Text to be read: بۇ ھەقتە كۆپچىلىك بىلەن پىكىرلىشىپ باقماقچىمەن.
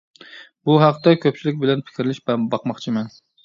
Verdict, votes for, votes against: rejected, 1, 2